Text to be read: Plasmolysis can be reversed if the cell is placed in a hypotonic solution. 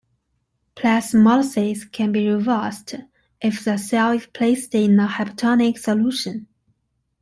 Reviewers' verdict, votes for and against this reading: accepted, 2, 0